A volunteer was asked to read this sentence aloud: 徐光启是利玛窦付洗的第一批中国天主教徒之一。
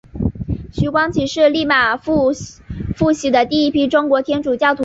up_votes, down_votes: 3, 1